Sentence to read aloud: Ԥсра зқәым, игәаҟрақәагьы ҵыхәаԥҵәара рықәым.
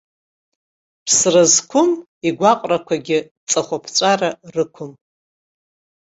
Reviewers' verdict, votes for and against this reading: accepted, 2, 0